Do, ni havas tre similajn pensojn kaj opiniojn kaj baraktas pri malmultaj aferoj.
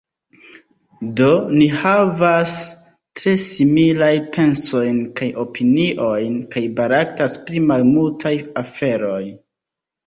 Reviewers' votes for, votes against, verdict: 0, 2, rejected